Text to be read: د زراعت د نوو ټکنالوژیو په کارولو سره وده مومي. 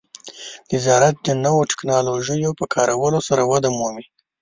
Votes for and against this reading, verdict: 1, 2, rejected